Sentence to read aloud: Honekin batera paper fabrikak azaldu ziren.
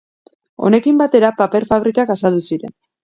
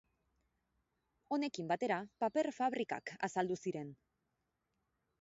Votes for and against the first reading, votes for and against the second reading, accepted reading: 2, 0, 0, 2, first